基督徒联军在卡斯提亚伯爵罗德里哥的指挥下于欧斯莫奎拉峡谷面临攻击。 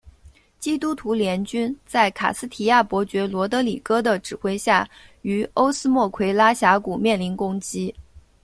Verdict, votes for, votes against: accepted, 2, 0